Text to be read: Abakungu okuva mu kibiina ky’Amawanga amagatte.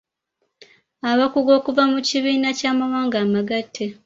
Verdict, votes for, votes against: rejected, 0, 2